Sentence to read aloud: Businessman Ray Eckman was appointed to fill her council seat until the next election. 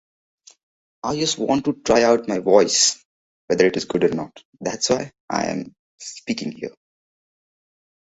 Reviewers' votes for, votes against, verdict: 0, 2, rejected